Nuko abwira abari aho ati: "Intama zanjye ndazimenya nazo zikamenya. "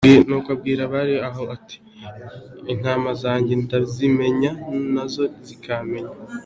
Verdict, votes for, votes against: accepted, 2, 0